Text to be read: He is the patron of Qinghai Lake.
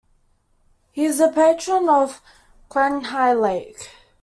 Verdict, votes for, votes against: rejected, 0, 2